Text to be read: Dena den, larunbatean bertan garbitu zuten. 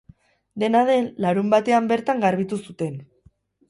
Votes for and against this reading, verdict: 4, 0, accepted